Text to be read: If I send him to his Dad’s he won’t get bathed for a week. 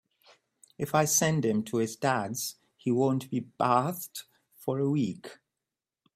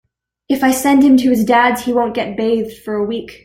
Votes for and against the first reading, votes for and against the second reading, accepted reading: 0, 2, 2, 0, second